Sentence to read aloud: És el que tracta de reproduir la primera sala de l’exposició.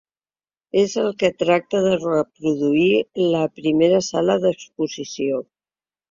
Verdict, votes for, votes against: rejected, 0, 2